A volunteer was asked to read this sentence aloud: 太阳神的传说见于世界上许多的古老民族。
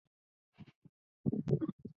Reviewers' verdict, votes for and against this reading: rejected, 0, 2